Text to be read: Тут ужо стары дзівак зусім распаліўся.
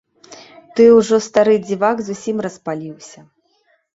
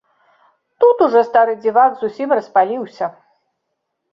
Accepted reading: second